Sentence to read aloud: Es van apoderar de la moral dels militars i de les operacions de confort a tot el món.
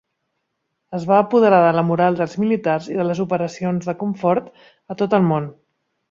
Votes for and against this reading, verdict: 3, 0, accepted